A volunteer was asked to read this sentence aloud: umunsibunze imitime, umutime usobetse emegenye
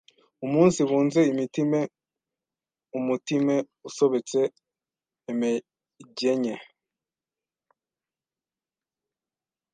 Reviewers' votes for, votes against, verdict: 1, 2, rejected